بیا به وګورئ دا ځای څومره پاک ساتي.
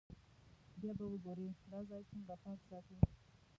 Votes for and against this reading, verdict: 1, 2, rejected